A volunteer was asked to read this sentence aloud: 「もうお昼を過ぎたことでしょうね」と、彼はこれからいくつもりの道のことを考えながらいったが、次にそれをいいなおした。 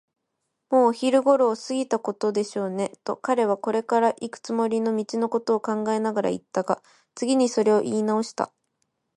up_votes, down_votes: 0, 2